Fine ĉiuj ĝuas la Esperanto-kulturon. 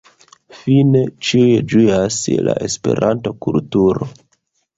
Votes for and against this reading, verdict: 1, 2, rejected